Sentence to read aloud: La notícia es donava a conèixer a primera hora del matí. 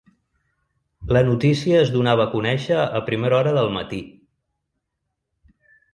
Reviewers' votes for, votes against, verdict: 3, 0, accepted